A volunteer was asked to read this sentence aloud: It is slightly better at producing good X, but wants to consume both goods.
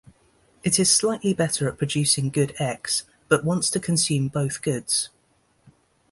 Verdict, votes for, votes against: accepted, 2, 0